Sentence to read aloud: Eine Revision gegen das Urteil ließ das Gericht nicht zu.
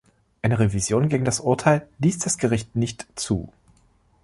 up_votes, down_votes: 2, 0